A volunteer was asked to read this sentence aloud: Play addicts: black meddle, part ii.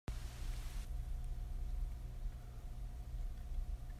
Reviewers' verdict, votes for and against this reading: rejected, 0, 2